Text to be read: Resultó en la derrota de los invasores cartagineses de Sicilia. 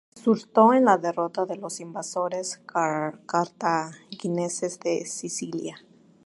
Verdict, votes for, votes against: rejected, 0, 2